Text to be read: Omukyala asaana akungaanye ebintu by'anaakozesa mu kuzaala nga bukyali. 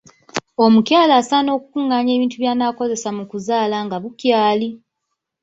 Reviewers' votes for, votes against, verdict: 1, 2, rejected